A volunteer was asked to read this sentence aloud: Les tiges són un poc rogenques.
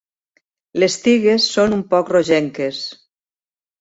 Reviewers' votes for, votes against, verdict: 0, 2, rejected